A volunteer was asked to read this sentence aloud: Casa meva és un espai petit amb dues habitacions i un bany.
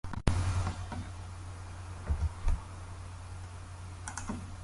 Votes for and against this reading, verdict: 0, 2, rejected